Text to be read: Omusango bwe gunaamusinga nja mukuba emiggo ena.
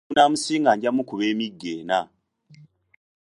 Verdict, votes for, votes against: rejected, 0, 2